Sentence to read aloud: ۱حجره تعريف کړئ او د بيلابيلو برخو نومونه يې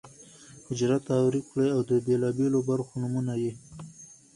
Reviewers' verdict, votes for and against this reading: rejected, 0, 2